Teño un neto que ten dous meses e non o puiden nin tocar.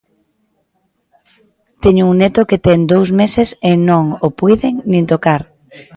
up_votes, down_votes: 2, 0